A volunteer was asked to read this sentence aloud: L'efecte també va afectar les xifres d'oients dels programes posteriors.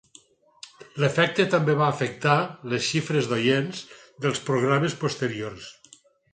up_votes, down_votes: 4, 0